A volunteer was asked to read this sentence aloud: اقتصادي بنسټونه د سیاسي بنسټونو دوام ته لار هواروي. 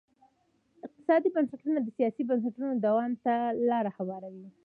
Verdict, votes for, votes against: rejected, 1, 2